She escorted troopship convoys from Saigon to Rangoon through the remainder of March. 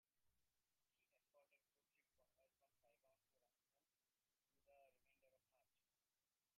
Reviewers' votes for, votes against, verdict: 1, 2, rejected